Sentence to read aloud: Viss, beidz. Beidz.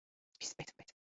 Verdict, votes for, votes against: rejected, 0, 2